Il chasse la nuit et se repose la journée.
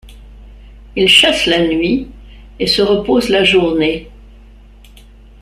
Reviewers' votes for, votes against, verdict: 2, 0, accepted